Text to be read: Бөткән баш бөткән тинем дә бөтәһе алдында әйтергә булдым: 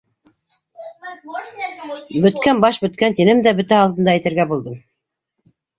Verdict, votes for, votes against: rejected, 0, 2